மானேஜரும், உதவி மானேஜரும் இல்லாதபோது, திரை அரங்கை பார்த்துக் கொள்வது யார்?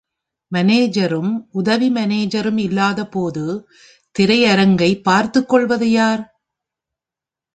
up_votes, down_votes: 2, 1